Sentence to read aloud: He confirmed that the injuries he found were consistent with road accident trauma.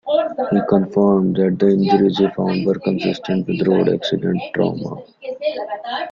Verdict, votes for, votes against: rejected, 0, 2